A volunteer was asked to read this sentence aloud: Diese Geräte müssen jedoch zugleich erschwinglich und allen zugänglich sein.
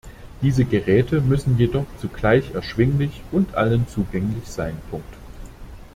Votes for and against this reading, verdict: 0, 2, rejected